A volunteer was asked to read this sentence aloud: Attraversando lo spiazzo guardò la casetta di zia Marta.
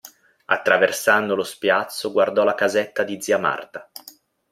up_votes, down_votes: 2, 0